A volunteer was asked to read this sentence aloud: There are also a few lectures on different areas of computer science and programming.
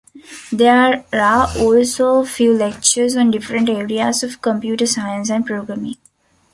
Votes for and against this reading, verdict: 1, 2, rejected